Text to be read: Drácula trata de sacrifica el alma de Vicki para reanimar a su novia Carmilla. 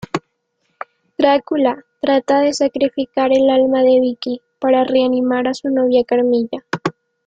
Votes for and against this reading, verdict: 2, 0, accepted